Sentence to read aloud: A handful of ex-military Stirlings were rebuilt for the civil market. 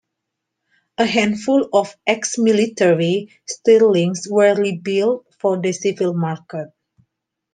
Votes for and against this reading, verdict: 2, 0, accepted